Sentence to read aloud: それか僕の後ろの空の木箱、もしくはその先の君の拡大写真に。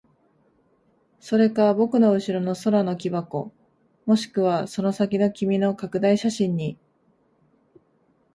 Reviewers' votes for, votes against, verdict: 1, 2, rejected